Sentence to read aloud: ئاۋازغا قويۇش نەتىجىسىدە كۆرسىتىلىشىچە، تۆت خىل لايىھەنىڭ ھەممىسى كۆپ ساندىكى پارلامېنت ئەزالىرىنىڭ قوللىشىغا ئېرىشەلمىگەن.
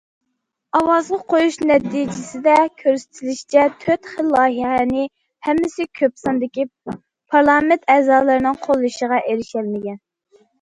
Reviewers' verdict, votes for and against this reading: rejected, 0, 2